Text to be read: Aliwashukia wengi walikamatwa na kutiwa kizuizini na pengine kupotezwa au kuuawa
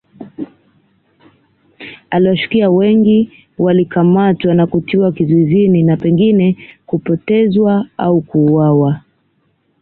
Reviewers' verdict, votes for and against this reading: accepted, 2, 1